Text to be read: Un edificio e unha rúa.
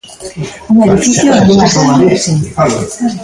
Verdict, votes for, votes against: rejected, 0, 2